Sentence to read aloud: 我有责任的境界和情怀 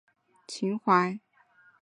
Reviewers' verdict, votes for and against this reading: rejected, 0, 2